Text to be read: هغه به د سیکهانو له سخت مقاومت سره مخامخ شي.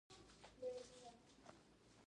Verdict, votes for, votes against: rejected, 0, 2